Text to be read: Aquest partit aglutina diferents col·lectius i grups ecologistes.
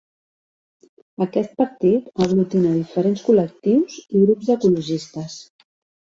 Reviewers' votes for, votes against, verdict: 2, 1, accepted